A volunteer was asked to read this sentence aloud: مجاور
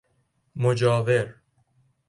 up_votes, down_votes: 2, 0